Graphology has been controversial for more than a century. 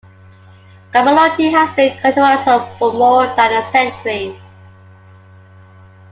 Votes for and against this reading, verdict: 1, 2, rejected